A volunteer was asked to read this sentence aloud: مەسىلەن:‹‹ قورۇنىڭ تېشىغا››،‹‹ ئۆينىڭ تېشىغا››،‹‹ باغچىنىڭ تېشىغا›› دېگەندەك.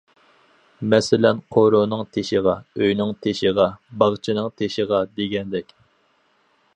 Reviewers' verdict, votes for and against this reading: rejected, 2, 4